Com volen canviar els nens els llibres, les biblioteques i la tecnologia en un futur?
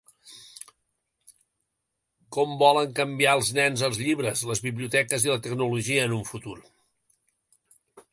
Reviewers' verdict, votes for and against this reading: rejected, 1, 2